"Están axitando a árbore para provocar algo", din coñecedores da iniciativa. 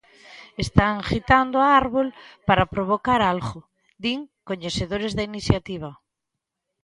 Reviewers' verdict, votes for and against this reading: rejected, 0, 4